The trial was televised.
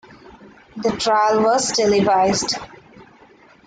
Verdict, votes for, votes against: accepted, 2, 0